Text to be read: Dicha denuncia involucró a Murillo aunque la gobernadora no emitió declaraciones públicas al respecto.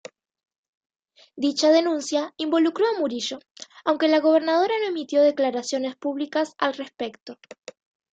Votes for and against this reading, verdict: 2, 0, accepted